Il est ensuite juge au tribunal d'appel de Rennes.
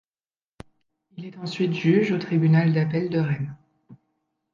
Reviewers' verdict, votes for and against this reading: accepted, 2, 0